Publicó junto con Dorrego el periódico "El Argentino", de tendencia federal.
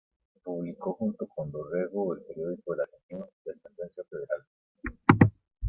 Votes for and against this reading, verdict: 2, 0, accepted